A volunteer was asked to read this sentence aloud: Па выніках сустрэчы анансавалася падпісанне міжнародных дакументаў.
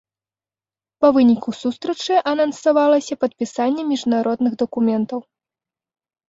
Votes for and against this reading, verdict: 1, 2, rejected